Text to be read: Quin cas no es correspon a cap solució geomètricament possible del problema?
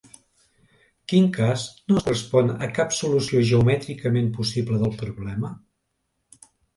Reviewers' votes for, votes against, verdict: 1, 2, rejected